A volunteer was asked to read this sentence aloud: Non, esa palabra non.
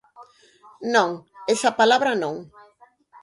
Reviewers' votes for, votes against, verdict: 0, 4, rejected